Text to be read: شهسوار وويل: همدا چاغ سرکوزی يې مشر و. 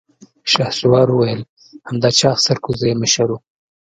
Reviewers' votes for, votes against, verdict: 2, 0, accepted